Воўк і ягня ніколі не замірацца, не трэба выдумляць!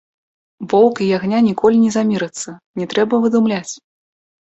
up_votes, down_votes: 2, 0